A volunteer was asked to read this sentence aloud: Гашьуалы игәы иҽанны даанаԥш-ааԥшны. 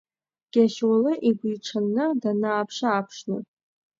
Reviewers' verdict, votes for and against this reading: rejected, 0, 2